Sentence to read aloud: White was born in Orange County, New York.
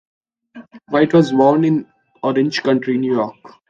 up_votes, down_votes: 2, 0